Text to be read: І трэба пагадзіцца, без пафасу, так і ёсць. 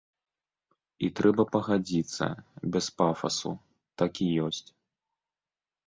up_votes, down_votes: 1, 2